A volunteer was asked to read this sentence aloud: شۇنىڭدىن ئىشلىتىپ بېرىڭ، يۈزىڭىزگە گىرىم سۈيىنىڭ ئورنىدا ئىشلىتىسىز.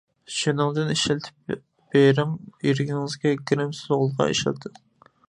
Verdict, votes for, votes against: rejected, 0, 2